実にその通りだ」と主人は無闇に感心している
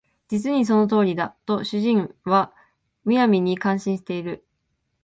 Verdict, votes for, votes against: accepted, 2, 0